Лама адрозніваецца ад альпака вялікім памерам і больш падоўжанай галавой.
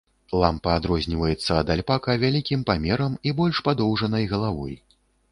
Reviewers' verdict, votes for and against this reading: rejected, 0, 2